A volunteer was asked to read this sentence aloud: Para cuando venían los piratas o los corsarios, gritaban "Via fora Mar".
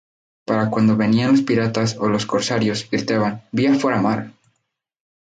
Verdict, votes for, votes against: rejected, 0, 2